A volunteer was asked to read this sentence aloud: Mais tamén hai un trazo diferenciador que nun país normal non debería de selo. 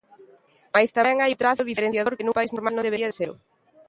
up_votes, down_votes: 0, 2